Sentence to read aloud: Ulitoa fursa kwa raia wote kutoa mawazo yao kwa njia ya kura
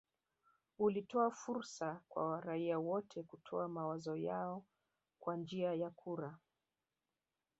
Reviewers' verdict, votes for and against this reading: rejected, 1, 2